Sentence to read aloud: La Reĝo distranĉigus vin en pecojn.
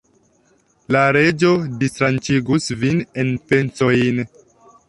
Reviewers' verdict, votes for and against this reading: rejected, 1, 2